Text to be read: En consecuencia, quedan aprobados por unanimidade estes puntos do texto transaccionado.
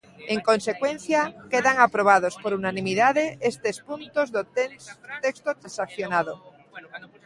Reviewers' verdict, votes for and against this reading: rejected, 0, 2